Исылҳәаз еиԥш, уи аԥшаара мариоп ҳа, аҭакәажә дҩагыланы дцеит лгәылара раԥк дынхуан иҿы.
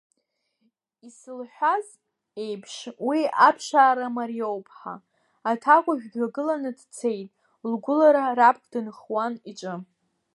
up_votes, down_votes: 2, 0